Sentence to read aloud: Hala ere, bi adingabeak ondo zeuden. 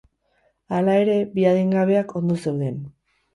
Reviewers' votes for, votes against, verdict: 4, 0, accepted